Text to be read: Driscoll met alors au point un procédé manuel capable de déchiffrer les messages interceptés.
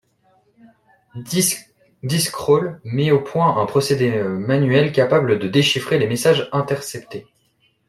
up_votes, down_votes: 0, 2